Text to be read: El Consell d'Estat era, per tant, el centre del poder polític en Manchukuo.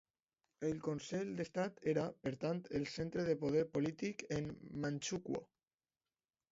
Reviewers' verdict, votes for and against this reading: accepted, 2, 1